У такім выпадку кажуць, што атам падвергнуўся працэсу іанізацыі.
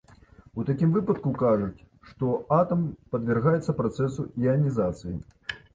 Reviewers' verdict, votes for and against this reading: rejected, 0, 2